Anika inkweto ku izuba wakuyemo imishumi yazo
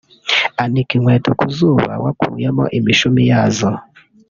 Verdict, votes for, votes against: rejected, 0, 2